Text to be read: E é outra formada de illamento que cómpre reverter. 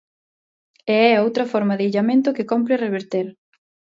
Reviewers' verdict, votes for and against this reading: rejected, 0, 2